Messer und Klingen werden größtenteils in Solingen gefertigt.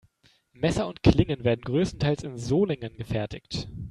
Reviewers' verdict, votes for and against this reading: accepted, 2, 0